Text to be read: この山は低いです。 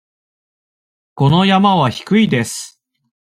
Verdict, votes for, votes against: accepted, 2, 0